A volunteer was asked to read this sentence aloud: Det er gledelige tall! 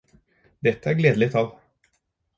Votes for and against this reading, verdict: 0, 4, rejected